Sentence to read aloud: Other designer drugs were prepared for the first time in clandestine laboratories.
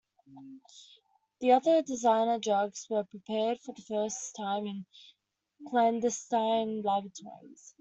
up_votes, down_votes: 0, 2